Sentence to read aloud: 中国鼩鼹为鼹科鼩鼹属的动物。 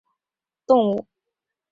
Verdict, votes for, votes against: rejected, 1, 2